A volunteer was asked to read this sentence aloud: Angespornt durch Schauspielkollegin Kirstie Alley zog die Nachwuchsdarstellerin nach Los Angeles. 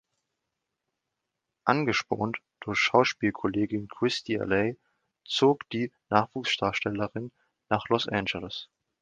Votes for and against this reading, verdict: 0, 2, rejected